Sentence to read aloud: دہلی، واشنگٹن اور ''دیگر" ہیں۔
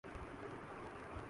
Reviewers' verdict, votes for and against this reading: rejected, 1, 2